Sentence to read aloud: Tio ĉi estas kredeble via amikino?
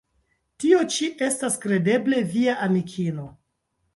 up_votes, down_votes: 1, 2